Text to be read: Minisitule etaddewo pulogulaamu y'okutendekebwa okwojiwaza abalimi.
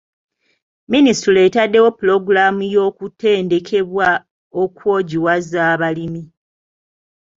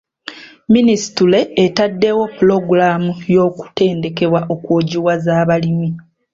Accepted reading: first